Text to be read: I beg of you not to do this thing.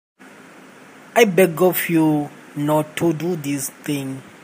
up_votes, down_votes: 2, 1